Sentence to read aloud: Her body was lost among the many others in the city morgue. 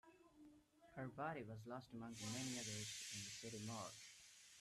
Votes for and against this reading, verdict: 1, 2, rejected